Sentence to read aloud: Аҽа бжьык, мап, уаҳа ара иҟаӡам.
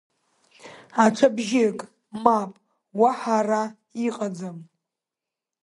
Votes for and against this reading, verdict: 2, 0, accepted